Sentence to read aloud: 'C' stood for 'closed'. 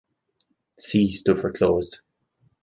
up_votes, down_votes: 0, 2